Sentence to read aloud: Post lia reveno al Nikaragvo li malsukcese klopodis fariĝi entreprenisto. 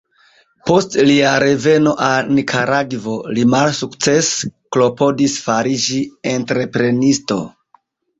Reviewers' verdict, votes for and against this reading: rejected, 1, 2